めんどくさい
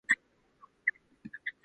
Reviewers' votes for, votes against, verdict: 0, 2, rejected